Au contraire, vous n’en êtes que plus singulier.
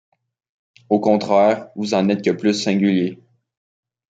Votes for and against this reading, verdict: 1, 2, rejected